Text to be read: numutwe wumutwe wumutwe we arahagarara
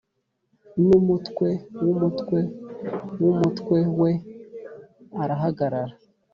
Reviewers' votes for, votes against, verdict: 3, 0, accepted